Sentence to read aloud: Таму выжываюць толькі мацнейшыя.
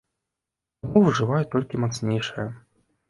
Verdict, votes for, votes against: accepted, 2, 1